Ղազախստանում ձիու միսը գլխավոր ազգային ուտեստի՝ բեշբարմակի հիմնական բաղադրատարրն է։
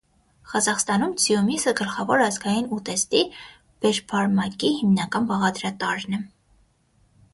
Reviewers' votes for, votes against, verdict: 6, 0, accepted